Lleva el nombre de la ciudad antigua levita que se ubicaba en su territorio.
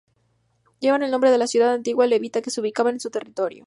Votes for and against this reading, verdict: 0, 2, rejected